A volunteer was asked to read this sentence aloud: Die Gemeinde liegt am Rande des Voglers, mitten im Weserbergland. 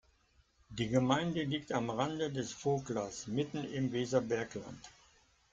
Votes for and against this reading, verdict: 2, 1, accepted